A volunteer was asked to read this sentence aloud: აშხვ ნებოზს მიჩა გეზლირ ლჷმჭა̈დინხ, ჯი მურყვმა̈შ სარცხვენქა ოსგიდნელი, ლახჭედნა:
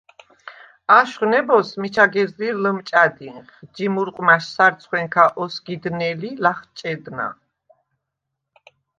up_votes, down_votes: 2, 0